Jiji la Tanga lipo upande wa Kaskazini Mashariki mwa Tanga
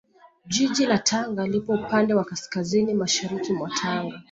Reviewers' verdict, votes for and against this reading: rejected, 0, 2